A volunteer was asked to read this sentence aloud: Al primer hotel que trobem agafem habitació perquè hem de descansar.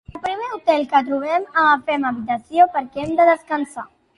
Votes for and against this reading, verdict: 1, 2, rejected